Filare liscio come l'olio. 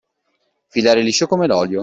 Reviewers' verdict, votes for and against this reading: accepted, 2, 0